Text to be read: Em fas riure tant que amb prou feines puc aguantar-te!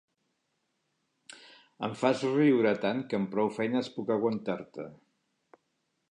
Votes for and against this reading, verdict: 3, 0, accepted